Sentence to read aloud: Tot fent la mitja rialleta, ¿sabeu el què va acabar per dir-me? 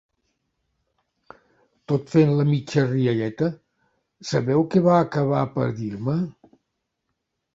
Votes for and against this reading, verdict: 0, 2, rejected